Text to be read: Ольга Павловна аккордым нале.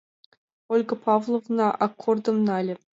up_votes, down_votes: 2, 0